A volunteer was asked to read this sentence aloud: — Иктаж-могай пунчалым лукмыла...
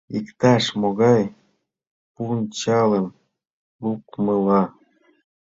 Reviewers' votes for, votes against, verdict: 2, 0, accepted